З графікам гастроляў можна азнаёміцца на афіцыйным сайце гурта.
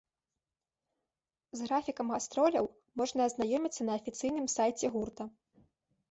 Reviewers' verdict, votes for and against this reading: rejected, 0, 2